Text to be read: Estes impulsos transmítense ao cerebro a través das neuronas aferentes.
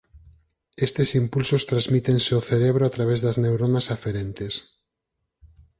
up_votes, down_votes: 4, 0